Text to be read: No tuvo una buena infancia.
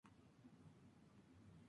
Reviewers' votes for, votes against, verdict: 0, 2, rejected